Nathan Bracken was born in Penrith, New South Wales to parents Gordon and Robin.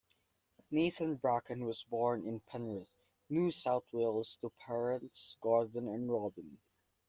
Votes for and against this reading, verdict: 2, 0, accepted